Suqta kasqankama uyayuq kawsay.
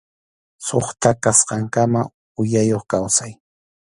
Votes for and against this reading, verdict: 2, 0, accepted